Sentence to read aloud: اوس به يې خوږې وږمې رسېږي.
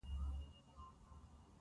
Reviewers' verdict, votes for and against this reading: accepted, 2, 1